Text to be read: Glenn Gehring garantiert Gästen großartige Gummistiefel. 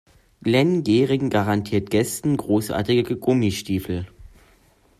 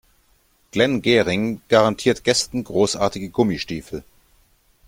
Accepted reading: second